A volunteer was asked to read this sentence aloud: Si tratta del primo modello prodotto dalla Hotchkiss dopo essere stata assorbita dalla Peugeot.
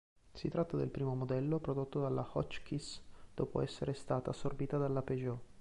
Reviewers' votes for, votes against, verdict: 2, 0, accepted